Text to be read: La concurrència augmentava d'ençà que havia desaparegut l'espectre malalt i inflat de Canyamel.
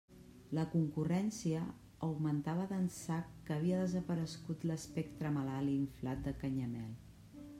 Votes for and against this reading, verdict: 0, 2, rejected